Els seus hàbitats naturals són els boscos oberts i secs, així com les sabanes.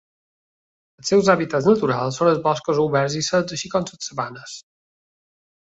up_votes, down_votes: 1, 2